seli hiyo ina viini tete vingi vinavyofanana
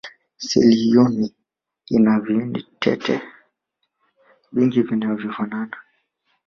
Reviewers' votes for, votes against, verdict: 2, 1, accepted